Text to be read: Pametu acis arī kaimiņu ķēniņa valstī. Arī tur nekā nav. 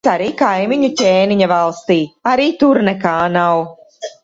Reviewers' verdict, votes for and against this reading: rejected, 0, 2